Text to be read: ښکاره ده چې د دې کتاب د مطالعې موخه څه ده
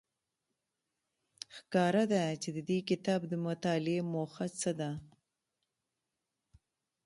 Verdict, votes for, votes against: rejected, 0, 2